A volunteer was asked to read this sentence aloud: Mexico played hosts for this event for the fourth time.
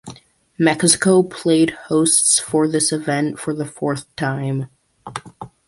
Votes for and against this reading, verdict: 0, 2, rejected